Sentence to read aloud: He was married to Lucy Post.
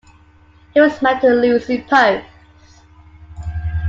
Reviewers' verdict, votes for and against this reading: accepted, 2, 1